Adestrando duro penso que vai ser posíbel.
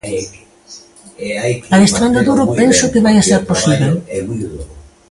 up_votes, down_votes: 0, 2